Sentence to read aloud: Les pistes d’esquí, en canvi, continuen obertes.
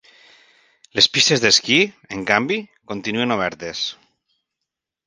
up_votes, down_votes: 2, 0